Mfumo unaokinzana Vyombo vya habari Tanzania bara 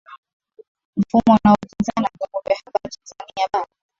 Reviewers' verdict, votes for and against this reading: rejected, 0, 2